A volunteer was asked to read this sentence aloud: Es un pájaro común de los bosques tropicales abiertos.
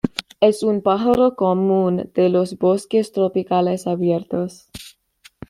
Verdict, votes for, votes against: accepted, 2, 0